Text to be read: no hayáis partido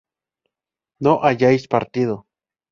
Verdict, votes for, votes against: accepted, 2, 0